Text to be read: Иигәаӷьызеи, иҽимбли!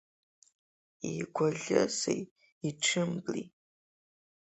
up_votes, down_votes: 2, 0